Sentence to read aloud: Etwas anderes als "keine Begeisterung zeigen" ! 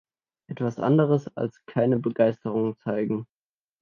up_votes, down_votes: 2, 0